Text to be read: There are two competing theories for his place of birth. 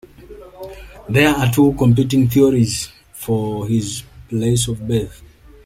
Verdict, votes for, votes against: accepted, 2, 1